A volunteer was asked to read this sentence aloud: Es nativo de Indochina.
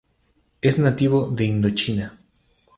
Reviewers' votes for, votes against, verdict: 2, 0, accepted